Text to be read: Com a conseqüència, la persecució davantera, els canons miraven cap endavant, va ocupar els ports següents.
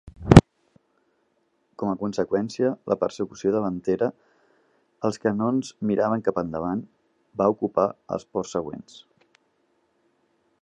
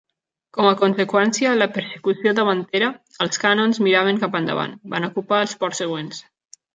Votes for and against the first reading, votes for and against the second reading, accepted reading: 2, 0, 0, 2, first